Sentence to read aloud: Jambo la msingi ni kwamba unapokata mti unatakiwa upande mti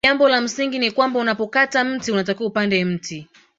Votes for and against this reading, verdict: 0, 2, rejected